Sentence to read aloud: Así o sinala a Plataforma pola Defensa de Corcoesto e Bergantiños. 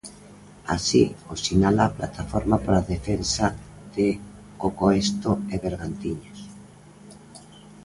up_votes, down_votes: 0, 2